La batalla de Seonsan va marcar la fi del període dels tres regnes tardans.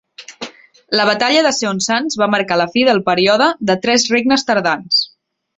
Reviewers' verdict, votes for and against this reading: rejected, 3, 4